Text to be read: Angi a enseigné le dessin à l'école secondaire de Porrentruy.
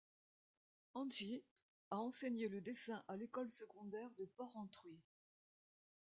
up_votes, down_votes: 2, 0